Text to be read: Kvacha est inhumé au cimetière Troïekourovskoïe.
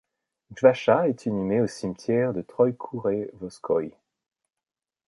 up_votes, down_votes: 1, 2